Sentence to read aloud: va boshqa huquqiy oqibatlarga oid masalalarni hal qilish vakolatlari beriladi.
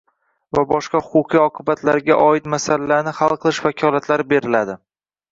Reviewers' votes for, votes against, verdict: 1, 2, rejected